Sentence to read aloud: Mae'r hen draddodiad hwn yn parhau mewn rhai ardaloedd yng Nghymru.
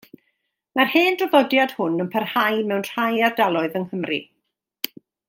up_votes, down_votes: 2, 0